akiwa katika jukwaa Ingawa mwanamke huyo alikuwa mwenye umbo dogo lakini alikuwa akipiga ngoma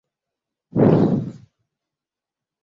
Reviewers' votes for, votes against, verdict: 0, 2, rejected